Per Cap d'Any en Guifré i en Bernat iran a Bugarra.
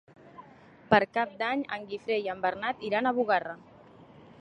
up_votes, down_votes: 3, 0